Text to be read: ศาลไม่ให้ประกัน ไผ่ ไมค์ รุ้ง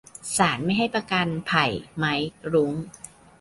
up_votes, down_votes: 2, 0